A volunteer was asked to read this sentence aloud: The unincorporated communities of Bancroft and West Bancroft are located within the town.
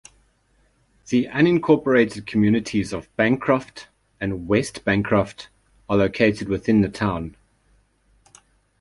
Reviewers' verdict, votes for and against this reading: accepted, 2, 0